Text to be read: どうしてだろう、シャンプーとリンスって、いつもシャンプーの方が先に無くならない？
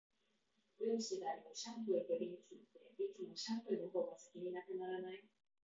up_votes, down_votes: 4, 2